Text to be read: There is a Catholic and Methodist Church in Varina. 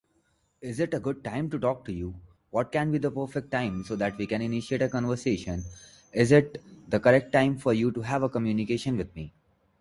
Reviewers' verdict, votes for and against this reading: rejected, 0, 2